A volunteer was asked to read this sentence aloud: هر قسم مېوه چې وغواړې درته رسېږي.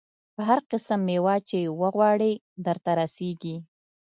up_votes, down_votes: 1, 2